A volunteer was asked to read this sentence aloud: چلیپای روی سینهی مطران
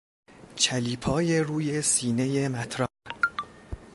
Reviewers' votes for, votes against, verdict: 0, 2, rejected